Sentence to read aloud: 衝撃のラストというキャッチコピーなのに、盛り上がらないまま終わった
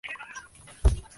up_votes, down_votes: 0, 2